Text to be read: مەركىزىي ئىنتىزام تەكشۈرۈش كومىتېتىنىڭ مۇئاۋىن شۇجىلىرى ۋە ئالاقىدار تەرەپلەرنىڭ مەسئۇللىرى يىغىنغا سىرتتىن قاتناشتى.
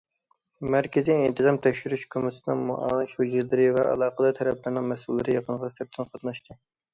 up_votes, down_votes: 2, 0